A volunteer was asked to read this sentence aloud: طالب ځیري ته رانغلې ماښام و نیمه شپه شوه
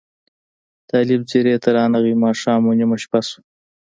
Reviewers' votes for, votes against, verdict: 1, 2, rejected